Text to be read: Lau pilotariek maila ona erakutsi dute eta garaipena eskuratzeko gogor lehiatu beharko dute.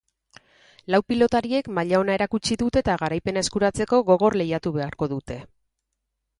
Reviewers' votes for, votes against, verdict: 4, 0, accepted